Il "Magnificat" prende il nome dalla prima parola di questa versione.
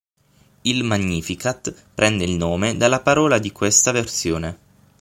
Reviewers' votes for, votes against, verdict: 3, 6, rejected